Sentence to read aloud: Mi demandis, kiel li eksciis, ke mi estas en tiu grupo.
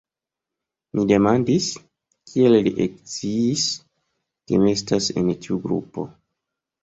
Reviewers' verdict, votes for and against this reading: accepted, 2, 1